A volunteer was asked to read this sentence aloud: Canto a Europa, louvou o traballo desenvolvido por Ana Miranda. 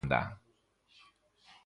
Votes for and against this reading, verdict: 0, 2, rejected